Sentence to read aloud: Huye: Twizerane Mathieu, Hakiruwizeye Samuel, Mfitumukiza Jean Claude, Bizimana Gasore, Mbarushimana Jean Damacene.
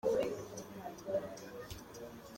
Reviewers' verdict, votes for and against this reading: rejected, 0, 2